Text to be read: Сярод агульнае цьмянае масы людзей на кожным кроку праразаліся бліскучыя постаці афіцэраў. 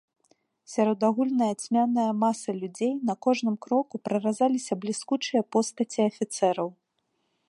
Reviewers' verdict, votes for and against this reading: accepted, 2, 0